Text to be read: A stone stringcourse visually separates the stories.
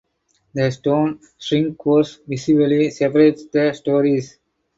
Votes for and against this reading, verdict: 2, 2, rejected